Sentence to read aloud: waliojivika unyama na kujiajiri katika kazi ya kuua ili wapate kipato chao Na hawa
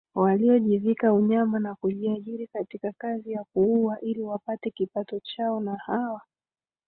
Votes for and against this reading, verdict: 3, 2, accepted